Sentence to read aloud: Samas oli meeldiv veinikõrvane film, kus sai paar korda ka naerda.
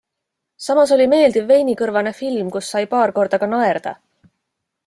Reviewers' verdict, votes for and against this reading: accepted, 2, 0